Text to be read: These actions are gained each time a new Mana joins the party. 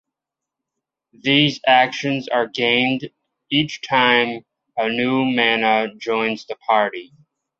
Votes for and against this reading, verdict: 2, 0, accepted